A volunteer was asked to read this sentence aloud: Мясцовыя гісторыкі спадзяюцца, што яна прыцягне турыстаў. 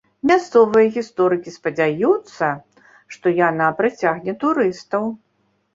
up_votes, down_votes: 2, 0